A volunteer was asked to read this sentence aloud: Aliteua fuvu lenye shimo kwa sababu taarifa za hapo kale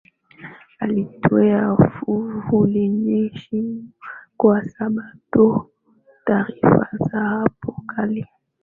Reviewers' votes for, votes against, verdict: 4, 5, rejected